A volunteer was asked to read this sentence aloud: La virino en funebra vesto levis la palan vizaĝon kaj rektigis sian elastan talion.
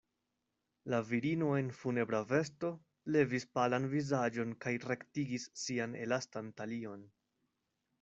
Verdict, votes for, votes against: rejected, 1, 2